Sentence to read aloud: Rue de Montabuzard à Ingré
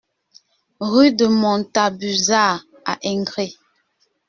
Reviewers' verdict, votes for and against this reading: rejected, 1, 2